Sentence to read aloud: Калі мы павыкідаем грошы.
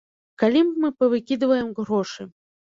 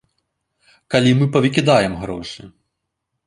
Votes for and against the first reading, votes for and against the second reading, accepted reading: 0, 2, 2, 0, second